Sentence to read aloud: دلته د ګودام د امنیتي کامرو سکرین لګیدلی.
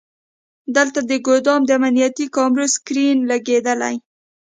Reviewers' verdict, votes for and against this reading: accepted, 2, 0